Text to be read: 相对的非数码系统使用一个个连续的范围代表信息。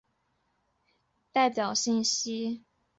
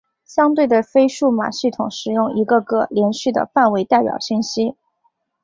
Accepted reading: second